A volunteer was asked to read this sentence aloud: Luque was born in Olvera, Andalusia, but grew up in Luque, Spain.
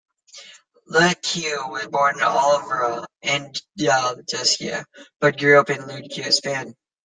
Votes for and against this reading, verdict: 0, 2, rejected